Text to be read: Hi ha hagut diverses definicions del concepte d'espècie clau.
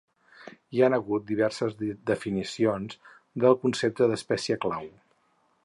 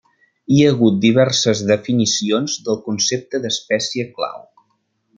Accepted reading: second